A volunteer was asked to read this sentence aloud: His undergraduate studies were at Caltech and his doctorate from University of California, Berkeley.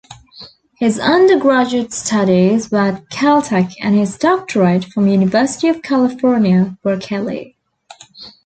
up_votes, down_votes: 1, 2